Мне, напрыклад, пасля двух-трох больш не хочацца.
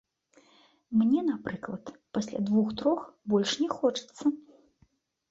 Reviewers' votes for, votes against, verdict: 2, 0, accepted